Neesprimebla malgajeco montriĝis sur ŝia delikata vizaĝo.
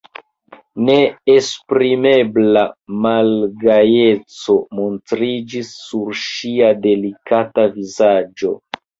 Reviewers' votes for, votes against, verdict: 2, 1, accepted